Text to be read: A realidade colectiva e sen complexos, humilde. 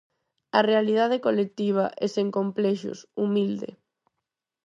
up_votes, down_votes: 4, 0